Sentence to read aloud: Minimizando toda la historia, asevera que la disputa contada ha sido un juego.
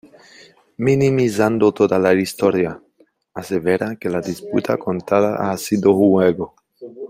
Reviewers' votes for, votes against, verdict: 0, 2, rejected